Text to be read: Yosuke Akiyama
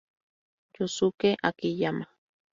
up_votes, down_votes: 2, 0